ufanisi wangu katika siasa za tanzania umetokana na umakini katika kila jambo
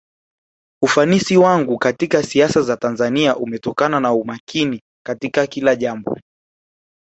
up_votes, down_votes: 2, 0